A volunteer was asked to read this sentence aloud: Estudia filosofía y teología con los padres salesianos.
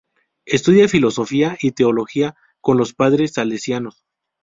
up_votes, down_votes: 2, 0